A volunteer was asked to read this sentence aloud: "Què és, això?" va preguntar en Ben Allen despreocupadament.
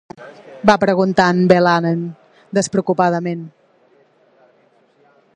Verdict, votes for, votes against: rejected, 1, 2